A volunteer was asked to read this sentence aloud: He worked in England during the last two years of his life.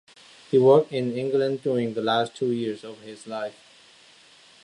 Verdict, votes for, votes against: accepted, 2, 0